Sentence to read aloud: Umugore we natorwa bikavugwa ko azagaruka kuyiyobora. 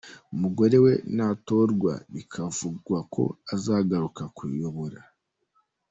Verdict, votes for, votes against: accepted, 2, 1